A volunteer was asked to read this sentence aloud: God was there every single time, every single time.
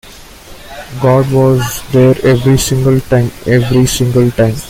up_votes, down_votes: 2, 0